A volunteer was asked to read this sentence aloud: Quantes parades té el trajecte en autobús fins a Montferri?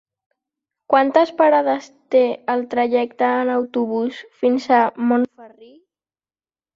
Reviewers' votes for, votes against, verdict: 1, 2, rejected